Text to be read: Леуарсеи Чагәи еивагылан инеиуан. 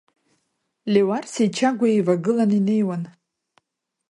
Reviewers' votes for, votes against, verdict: 2, 0, accepted